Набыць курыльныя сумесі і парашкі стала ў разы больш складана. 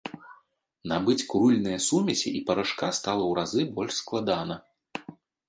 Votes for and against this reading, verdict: 0, 2, rejected